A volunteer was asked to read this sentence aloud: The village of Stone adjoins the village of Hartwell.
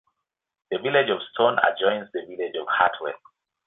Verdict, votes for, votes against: accepted, 2, 0